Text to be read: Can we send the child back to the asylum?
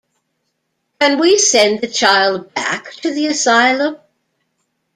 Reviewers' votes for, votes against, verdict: 2, 0, accepted